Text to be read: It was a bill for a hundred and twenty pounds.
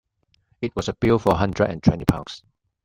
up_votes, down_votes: 1, 2